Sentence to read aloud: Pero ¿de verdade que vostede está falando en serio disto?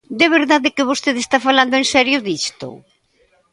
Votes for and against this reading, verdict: 0, 2, rejected